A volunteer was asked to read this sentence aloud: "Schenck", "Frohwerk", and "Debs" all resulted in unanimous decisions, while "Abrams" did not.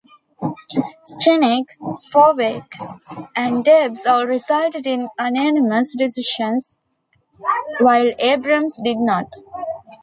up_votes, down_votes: 0, 2